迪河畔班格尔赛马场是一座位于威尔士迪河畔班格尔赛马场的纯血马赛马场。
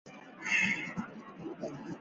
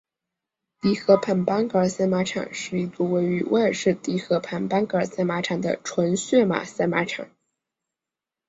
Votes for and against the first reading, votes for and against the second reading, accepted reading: 0, 4, 2, 0, second